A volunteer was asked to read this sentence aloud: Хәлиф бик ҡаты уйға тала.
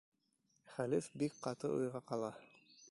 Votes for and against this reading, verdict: 1, 2, rejected